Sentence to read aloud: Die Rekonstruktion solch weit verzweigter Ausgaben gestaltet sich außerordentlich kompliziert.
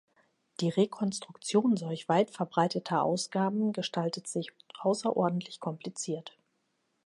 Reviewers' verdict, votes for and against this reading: rejected, 0, 2